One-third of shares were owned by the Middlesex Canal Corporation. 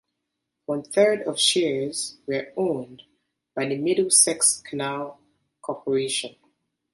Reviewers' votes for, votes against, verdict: 2, 0, accepted